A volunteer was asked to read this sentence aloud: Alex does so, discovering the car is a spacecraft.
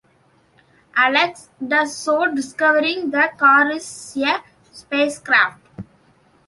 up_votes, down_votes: 1, 2